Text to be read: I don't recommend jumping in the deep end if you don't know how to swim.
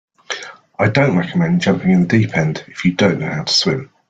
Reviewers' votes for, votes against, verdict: 2, 0, accepted